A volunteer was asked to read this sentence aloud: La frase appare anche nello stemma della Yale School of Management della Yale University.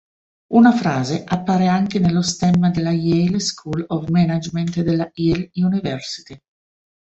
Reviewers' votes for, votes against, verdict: 0, 2, rejected